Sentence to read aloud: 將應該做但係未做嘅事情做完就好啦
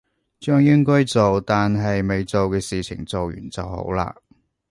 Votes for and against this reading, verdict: 2, 0, accepted